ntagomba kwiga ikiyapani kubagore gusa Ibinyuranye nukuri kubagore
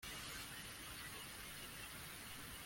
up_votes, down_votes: 0, 2